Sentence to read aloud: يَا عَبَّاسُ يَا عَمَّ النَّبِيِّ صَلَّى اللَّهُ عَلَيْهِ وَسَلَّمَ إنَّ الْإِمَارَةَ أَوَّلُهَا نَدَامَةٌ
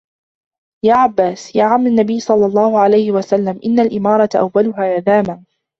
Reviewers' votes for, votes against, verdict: 1, 2, rejected